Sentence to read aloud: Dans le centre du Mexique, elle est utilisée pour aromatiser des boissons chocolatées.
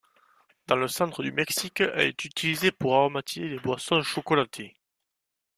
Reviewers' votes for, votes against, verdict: 0, 2, rejected